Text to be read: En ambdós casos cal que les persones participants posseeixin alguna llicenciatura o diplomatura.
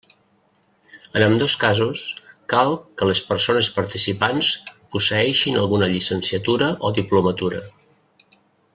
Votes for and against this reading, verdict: 3, 0, accepted